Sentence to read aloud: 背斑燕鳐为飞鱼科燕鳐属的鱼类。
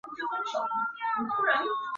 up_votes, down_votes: 0, 3